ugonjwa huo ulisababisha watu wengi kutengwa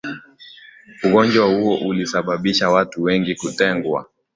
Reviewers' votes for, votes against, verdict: 2, 0, accepted